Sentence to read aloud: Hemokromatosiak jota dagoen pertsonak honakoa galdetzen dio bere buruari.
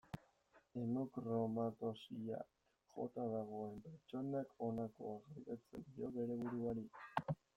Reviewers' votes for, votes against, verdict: 0, 2, rejected